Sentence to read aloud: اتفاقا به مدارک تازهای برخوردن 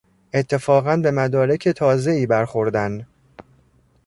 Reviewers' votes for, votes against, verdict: 1, 2, rejected